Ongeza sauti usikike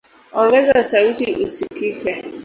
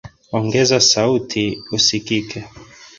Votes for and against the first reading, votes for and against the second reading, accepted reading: 0, 2, 2, 1, second